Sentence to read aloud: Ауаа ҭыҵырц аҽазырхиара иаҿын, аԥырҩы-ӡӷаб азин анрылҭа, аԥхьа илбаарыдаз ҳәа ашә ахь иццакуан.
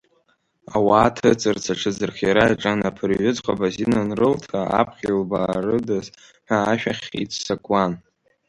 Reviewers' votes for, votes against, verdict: 0, 2, rejected